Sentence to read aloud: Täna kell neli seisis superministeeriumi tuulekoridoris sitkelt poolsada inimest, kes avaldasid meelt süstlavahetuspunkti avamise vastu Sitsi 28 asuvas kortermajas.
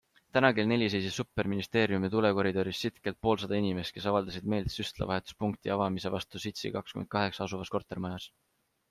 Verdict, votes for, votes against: rejected, 0, 2